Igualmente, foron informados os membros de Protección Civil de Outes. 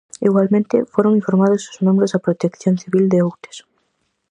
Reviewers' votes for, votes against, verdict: 2, 2, rejected